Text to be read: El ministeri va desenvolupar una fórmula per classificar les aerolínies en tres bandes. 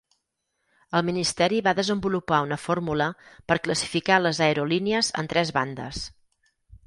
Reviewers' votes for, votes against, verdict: 6, 0, accepted